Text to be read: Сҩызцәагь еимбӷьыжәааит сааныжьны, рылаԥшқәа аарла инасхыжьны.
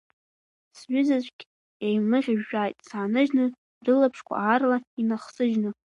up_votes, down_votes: 0, 2